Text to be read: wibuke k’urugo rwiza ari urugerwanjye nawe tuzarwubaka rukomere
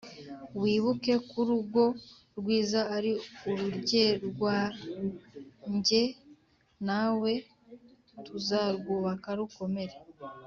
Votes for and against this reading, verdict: 2, 0, accepted